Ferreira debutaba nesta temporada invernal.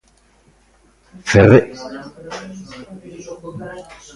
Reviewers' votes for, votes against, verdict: 0, 2, rejected